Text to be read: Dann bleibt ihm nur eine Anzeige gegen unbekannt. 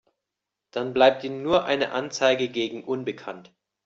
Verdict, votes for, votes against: accepted, 2, 1